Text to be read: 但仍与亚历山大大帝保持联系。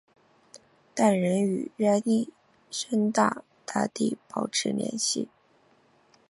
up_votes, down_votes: 3, 0